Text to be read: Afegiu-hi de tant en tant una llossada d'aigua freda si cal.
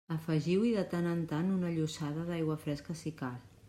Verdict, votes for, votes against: rejected, 0, 2